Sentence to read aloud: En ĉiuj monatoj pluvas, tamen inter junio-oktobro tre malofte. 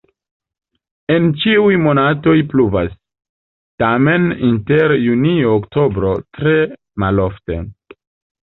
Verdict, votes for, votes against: accepted, 2, 0